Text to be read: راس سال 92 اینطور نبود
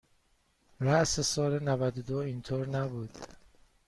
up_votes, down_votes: 0, 2